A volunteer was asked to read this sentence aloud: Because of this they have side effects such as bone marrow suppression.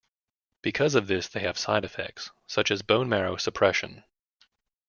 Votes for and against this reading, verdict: 2, 0, accepted